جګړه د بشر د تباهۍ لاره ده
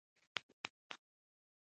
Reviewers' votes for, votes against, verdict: 0, 2, rejected